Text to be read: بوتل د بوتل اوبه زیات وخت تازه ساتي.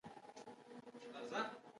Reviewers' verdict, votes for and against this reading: rejected, 1, 3